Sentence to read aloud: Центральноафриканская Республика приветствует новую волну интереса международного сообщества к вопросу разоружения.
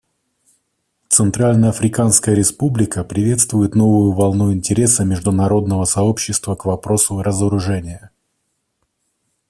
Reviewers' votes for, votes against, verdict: 2, 0, accepted